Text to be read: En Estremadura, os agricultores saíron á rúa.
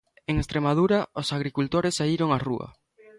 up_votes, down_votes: 2, 0